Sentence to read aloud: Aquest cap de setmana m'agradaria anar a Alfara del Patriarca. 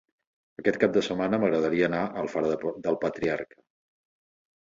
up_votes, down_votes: 1, 3